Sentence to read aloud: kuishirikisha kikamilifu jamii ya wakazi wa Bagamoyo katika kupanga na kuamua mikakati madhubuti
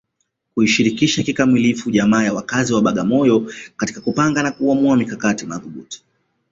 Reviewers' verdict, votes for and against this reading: accepted, 2, 0